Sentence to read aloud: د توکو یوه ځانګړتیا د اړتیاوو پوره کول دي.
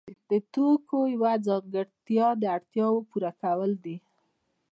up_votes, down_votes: 2, 0